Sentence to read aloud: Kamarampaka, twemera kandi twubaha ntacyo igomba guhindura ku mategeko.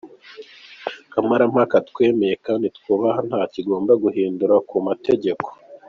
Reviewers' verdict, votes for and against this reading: accepted, 2, 1